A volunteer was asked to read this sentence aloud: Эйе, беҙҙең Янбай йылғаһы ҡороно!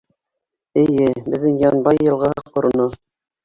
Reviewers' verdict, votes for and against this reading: rejected, 1, 2